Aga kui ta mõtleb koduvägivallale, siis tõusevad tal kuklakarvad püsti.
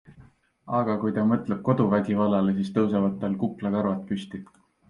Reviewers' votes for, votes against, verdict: 3, 0, accepted